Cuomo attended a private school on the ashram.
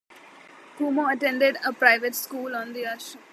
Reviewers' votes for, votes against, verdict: 0, 2, rejected